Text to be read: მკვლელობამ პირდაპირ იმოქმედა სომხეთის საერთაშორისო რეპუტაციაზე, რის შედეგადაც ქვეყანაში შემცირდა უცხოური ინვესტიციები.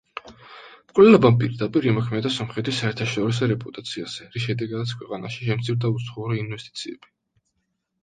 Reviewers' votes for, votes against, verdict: 2, 0, accepted